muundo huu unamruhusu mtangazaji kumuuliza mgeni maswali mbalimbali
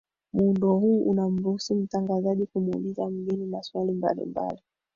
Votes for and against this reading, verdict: 2, 4, rejected